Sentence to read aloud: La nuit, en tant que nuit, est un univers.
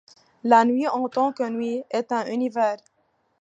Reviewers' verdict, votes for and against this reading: accepted, 2, 1